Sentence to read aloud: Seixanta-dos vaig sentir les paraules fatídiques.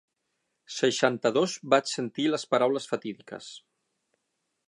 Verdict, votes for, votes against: accepted, 6, 0